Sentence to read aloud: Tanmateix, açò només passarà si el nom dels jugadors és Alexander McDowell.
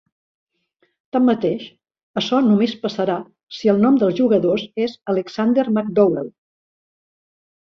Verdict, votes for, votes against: accepted, 2, 0